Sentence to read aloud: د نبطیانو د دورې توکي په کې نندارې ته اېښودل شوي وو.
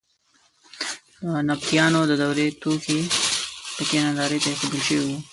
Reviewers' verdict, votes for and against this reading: rejected, 1, 2